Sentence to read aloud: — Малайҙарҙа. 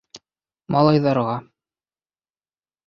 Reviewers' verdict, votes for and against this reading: rejected, 0, 2